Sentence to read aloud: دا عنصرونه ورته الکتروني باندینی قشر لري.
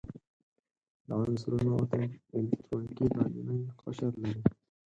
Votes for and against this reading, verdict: 0, 8, rejected